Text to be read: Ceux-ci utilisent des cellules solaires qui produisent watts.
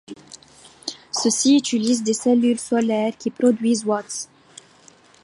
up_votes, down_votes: 2, 0